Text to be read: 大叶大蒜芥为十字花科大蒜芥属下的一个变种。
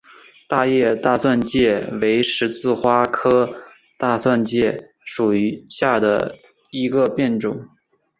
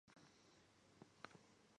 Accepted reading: first